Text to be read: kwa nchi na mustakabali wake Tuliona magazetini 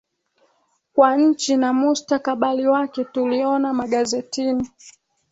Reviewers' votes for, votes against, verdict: 2, 0, accepted